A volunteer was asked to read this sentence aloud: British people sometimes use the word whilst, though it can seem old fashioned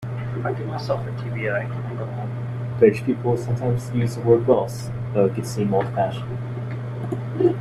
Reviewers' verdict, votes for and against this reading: rejected, 0, 2